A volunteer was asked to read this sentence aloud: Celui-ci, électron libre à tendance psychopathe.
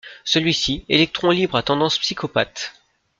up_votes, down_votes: 2, 0